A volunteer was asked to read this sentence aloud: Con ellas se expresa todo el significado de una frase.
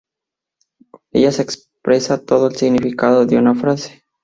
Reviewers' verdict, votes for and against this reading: rejected, 2, 2